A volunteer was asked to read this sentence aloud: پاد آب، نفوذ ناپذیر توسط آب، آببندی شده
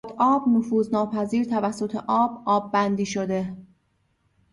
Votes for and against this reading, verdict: 0, 2, rejected